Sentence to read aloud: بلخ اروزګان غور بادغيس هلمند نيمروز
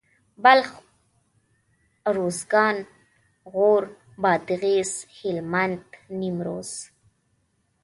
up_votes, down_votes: 2, 0